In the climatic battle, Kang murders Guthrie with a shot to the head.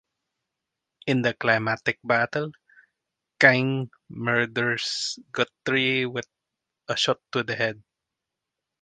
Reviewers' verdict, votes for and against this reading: accepted, 4, 0